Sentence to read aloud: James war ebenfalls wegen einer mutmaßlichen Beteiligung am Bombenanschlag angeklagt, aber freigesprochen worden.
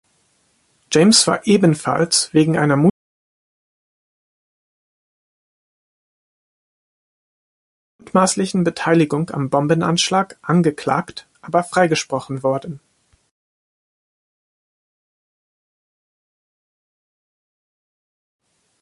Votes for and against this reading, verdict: 0, 2, rejected